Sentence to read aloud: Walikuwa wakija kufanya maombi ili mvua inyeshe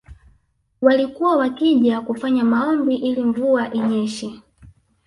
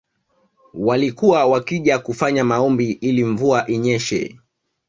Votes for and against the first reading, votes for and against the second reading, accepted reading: 0, 2, 2, 0, second